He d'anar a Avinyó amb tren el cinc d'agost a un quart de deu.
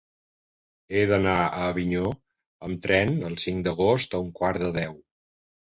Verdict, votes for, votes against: accepted, 3, 0